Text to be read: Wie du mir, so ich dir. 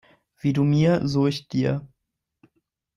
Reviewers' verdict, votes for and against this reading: accepted, 2, 0